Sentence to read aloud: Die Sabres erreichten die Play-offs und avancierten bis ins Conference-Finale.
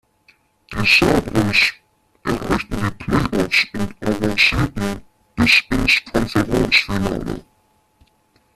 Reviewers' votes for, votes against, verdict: 0, 2, rejected